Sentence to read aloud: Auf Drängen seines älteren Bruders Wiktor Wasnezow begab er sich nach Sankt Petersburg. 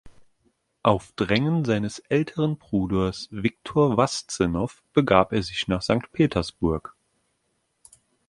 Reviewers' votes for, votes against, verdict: 1, 2, rejected